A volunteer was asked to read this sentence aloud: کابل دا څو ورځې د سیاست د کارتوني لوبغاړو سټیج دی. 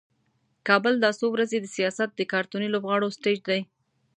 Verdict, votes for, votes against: accepted, 2, 0